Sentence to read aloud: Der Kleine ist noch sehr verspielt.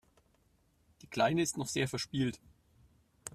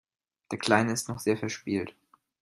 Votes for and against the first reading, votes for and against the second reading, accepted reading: 1, 2, 2, 0, second